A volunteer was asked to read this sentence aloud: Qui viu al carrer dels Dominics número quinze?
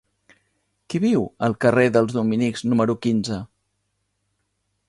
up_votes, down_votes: 3, 0